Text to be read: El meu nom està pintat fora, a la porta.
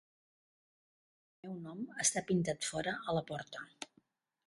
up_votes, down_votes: 1, 2